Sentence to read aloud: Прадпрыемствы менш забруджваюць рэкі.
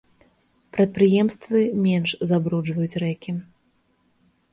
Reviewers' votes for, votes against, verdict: 2, 0, accepted